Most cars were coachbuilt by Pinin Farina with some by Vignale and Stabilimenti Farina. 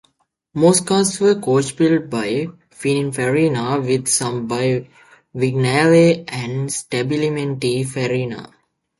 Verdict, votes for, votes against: accepted, 2, 1